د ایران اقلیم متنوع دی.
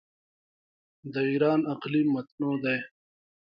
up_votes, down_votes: 2, 1